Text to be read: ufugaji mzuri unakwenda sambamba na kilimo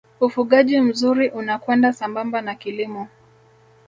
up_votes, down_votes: 2, 0